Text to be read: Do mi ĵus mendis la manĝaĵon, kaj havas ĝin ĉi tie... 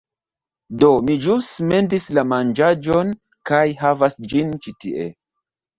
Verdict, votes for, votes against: rejected, 1, 2